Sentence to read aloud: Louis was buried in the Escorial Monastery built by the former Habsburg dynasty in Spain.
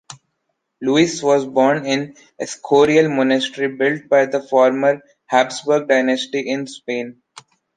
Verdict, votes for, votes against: rejected, 0, 2